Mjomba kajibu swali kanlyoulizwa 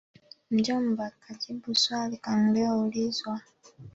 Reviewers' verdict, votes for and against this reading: rejected, 2, 3